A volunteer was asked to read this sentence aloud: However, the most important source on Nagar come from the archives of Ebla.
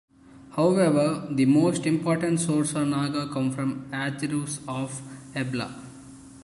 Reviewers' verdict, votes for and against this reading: rejected, 0, 2